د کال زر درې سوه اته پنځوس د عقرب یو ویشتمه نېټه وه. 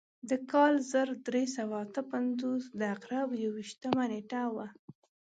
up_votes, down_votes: 2, 0